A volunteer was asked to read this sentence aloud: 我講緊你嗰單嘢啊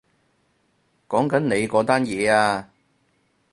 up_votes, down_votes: 0, 4